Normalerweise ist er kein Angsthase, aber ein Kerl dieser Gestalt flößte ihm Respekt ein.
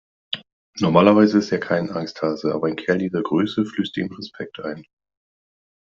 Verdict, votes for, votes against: rejected, 1, 2